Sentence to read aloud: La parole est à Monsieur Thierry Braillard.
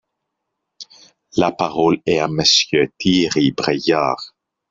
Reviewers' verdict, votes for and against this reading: accepted, 4, 0